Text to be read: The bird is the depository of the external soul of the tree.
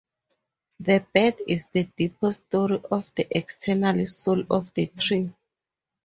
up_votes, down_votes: 2, 2